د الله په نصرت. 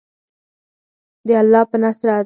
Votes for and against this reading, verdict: 2, 4, rejected